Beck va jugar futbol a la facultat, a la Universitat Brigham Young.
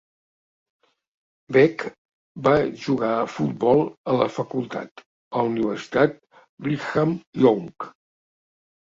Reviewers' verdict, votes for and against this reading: rejected, 1, 2